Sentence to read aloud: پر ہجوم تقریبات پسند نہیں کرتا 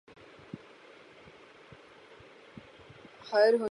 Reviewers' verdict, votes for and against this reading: rejected, 0, 6